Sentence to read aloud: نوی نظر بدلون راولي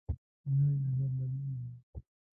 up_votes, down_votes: 0, 2